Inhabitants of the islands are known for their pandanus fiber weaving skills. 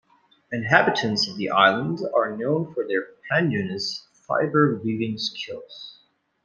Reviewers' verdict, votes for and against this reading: accepted, 2, 0